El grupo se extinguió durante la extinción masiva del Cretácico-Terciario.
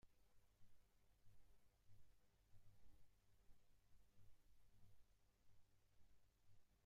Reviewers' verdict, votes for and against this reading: rejected, 0, 2